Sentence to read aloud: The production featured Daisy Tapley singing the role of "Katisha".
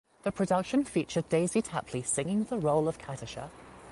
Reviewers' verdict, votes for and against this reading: accepted, 2, 0